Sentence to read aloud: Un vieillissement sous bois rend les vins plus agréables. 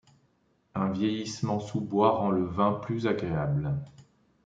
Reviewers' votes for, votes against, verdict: 0, 2, rejected